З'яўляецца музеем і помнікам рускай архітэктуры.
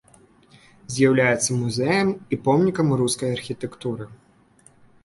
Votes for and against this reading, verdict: 0, 2, rejected